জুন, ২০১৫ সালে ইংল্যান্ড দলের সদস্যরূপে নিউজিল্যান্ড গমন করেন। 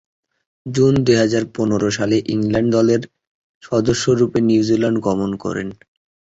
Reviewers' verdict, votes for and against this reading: rejected, 0, 2